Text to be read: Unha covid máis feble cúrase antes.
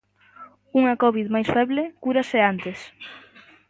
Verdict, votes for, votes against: accepted, 2, 0